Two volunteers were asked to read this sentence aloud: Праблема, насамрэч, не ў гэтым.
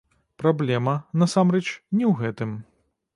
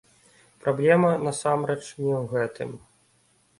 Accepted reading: second